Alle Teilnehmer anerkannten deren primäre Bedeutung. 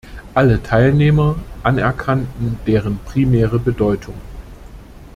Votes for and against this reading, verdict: 2, 0, accepted